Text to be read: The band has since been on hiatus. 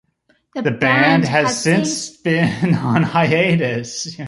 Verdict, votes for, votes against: rejected, 0, 2